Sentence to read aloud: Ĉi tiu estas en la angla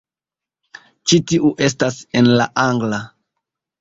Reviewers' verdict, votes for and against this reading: accepted, 2, 0